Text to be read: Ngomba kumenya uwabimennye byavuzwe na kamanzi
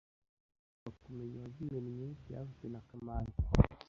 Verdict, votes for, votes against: rejected, 1, 2